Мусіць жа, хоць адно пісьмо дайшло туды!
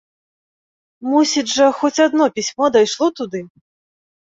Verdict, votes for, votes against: accepted, 2, 0